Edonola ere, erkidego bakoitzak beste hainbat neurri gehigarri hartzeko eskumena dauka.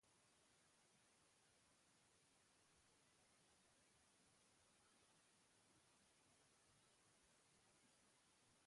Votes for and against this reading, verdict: 0, 2, rejected